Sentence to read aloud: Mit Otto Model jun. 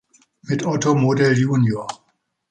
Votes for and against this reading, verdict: 2, 0, accepted